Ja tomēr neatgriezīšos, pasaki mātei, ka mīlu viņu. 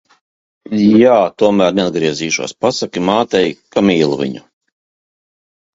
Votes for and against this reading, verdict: 0, 3, rejected